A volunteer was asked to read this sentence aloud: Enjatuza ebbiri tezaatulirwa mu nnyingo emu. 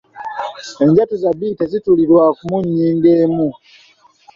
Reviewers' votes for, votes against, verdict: 0, 2, rejected